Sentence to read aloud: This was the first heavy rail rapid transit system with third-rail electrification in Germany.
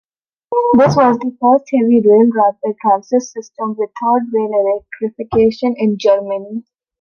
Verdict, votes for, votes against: rejected, 0, 2